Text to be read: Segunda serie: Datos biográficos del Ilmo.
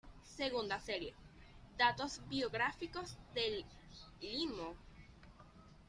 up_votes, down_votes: 1, 2